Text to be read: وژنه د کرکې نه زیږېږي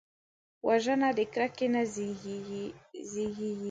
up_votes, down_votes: 2, 0